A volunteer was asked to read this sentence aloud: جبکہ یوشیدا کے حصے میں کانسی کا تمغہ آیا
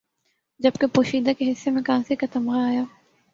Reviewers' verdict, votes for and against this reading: accepted, 4, 2